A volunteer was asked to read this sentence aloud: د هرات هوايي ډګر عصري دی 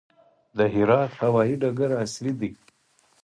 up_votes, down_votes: 4, 0